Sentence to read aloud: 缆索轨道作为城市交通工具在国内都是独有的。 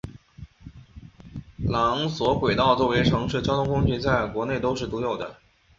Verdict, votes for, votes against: accepted, 2, 0